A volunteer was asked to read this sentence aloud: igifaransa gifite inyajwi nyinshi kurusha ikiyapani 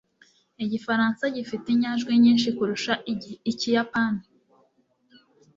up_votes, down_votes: 0, 2